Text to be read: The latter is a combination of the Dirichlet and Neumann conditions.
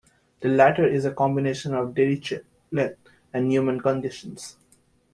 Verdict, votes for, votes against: rejected, 0, 2